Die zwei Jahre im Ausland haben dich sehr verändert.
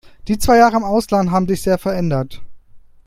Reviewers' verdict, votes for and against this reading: rejected, 0, 2